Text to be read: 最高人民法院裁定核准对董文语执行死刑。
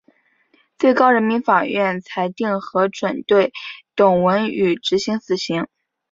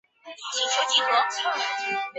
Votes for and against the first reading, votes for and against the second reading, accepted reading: 2, 0, 0, 3, first